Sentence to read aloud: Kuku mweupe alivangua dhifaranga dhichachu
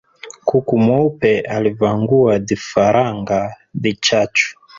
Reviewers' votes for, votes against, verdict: 2, 1, accepted